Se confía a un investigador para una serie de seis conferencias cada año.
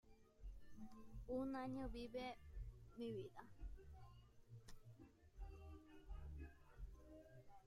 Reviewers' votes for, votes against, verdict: 0, 2, rejected